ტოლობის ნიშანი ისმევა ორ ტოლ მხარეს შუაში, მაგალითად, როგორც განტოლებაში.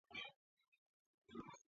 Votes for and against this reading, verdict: 1, 2, rejected